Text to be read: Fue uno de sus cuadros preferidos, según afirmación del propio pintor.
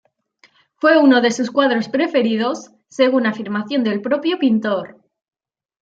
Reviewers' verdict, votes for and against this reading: accepted, 2, 0